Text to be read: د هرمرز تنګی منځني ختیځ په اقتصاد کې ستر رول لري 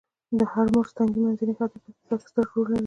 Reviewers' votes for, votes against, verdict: 1, 2, rejected